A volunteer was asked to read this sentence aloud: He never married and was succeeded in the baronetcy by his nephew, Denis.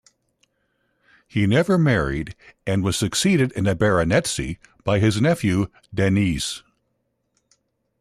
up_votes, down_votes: 0, 2